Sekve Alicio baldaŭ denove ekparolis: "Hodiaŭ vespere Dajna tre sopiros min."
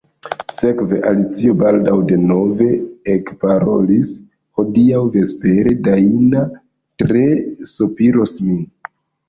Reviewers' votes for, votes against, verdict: 1, 2, rejected